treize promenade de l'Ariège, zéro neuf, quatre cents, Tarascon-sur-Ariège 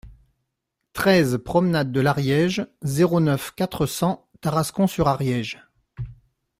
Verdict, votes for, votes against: accepted, 2, 0